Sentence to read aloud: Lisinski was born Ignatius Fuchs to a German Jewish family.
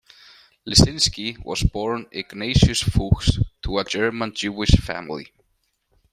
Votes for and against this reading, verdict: 2, 0, accepted